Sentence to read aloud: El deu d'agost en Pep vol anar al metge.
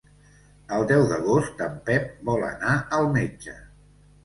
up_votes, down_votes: 2, 0